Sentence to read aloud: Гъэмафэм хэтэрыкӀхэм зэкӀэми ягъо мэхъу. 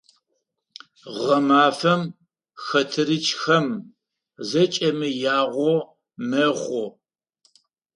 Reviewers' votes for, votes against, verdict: 4, 0, accepted